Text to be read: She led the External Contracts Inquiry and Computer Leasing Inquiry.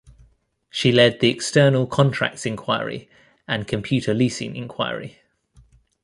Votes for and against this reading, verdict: 1, 2, rejected